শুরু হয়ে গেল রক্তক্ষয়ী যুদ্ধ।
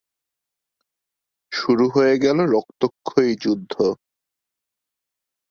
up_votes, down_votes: 1, 2